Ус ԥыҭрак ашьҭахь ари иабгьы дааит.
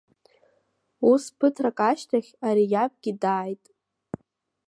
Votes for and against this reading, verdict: 1, 2, rejected